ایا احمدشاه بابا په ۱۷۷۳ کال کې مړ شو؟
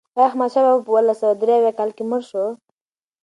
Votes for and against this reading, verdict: 0, 2, rejected